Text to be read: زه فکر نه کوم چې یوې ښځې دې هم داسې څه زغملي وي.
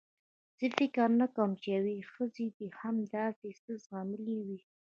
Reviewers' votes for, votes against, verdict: 1, 2, rejected